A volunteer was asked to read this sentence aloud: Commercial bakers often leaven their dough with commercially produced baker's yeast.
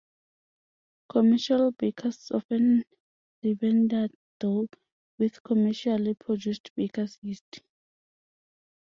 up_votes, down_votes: 2, 0